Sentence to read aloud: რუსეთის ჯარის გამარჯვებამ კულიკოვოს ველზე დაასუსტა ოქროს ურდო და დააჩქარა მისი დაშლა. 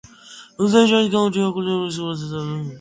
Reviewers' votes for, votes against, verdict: 0, 2, rejected